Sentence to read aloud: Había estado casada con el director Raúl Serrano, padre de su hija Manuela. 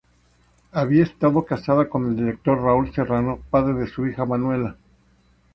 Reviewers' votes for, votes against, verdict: 0, 2, rejected